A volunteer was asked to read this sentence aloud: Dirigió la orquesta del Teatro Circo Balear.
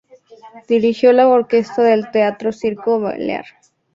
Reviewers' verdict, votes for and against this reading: accepted, 2, 0